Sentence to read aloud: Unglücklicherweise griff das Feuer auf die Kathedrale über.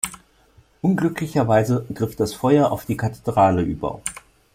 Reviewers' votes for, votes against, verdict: 2, 1, accepted